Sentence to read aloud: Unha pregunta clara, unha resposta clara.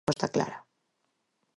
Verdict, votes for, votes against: rejected, 0, 4